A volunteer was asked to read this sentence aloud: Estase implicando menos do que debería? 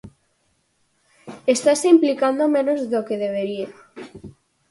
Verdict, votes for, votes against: accepted, 4, 0